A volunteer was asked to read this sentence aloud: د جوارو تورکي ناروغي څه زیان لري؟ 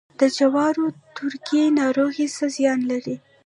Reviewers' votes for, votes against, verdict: 1, 2, rejected